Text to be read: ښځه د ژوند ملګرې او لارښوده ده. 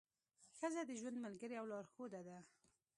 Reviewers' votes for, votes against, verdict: 1, 2, rejected